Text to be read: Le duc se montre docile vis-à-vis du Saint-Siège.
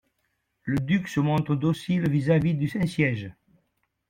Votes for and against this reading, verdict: 2, 0, accepted